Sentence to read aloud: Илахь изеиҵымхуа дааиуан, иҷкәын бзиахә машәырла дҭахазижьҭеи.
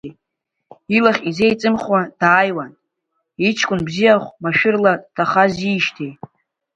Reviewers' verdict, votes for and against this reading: rejected, 1, 2